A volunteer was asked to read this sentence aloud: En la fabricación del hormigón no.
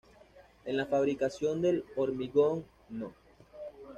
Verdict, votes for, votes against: accepted, 2, 0